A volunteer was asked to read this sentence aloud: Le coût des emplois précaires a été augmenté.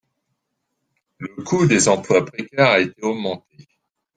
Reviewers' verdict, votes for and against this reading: rejected, 1, 2